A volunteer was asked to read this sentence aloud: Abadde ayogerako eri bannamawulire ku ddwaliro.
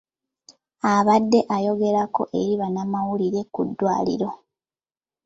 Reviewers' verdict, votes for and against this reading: accepted, 2, 1